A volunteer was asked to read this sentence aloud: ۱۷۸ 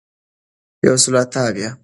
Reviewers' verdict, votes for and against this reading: rejected, 0, 2